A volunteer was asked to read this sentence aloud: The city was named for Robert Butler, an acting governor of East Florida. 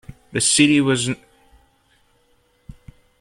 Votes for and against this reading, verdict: 0, 3, rejected